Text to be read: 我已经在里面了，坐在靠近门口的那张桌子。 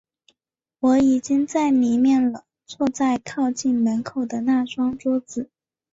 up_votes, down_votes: 3, 0